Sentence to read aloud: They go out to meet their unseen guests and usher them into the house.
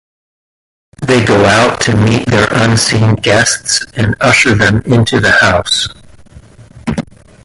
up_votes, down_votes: 1, 2